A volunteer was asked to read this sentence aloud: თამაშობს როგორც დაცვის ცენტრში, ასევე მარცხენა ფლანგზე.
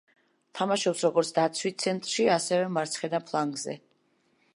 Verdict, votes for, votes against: accepted, 2, 0